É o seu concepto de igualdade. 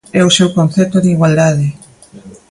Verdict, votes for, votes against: accepted, 2, 0